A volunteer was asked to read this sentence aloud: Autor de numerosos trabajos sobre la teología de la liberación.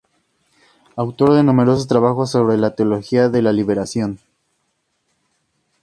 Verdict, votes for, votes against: accepted, 2, 0